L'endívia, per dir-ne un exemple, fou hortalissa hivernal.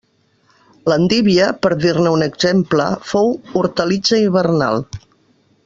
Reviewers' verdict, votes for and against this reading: rejected, 0, 2